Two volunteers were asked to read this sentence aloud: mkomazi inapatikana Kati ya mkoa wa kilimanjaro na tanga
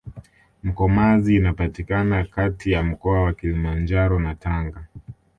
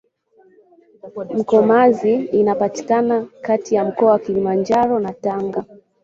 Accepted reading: first